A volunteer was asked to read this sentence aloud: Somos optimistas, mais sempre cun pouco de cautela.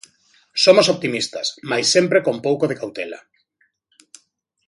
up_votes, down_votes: 0, 2